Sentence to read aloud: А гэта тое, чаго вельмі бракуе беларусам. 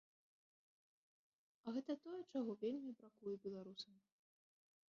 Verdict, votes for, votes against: rejected, 1, 3